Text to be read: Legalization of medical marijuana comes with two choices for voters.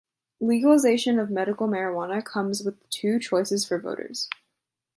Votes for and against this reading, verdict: 2, 0, accepted